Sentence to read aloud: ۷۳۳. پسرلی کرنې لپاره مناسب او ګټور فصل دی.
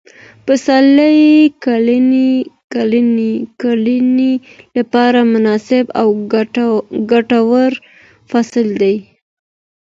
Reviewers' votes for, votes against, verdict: 0, 2, rejected